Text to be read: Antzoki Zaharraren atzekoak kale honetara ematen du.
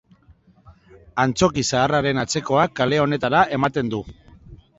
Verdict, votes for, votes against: accepted, 3, 0